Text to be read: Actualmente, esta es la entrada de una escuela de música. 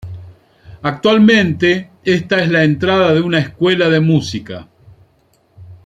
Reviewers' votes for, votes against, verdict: 2, 0, accepted